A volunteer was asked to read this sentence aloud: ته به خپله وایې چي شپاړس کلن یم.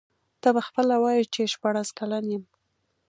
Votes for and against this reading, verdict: 2, 0, accepted